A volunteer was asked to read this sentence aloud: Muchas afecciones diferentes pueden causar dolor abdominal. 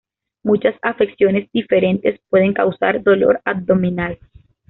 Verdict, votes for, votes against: accepted, 2, 0